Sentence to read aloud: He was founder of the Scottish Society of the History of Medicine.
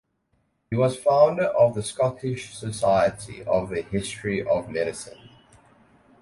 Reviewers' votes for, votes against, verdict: 0, 2, rejected